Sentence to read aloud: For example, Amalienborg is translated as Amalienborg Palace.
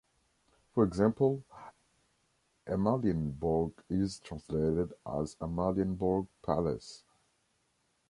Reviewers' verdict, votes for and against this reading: accepted, 3, 0